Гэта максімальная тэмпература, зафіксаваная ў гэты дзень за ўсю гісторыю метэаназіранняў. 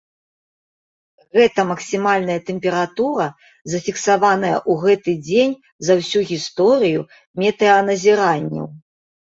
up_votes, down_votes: 2, 0